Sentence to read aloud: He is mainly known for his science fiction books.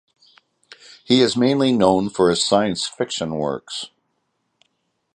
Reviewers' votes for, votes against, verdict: 2, 4, rejected